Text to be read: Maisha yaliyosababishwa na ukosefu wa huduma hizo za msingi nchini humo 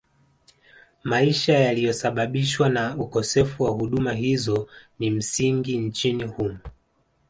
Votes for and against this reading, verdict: 1, 2, rejected